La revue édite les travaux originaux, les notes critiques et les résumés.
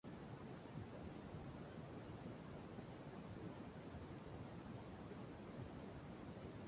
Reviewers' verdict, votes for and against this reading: rejected, 0, 2